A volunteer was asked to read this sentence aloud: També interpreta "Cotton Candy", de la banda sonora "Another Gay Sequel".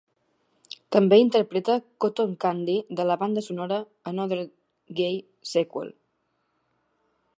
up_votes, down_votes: 2, 1